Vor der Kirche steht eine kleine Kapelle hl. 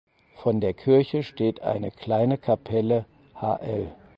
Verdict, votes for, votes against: rejected, 0, 4